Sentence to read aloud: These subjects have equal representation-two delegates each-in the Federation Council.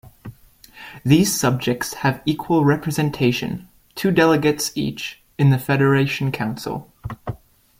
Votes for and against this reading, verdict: 2, 0, accepted